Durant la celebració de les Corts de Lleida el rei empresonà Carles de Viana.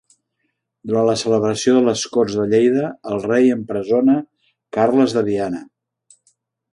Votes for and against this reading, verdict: 2, 3, rejected